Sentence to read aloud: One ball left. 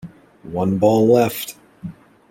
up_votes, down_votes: 2, 0